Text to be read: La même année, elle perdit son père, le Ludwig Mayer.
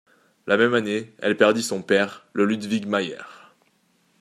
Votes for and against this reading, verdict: 2, 0, accepted